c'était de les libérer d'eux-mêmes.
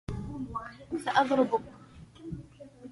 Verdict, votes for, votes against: rejected, 0, 2